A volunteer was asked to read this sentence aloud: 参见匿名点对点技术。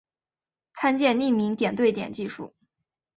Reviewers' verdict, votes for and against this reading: accepted, 3, 0